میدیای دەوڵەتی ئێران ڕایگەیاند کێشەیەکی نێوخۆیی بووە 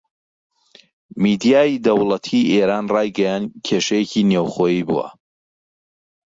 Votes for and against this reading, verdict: 2, 0, accepted